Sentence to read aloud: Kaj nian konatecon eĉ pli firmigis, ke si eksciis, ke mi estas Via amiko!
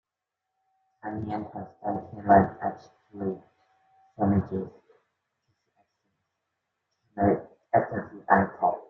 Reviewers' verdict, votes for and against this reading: rejected, 0, 2